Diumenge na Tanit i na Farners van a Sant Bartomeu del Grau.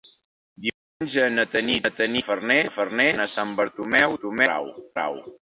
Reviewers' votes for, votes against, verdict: 0, 2, rejected